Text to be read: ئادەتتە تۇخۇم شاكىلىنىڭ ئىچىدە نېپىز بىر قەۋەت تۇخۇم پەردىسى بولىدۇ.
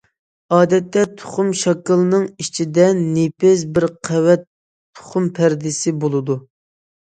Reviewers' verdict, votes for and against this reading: accepted, 2, 0